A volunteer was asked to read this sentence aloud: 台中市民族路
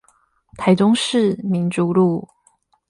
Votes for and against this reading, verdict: 8, 0, accepted